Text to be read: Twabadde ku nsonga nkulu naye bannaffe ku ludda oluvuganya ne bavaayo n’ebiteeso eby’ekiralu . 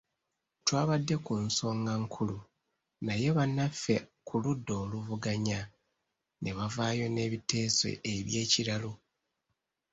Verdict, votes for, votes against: accepted, 2, 0